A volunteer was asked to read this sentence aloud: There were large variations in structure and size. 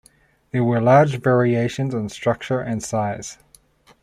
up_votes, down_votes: 2, 0